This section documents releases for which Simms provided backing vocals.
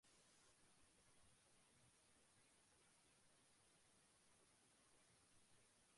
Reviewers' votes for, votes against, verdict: 0, 2, rejected